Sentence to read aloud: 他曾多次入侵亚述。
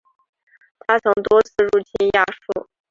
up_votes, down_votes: 2, 0